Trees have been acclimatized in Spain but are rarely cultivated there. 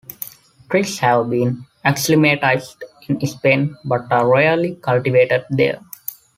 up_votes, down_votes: 2, 0